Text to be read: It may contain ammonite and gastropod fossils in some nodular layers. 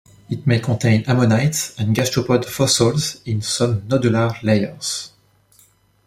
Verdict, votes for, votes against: accepted, 2, 0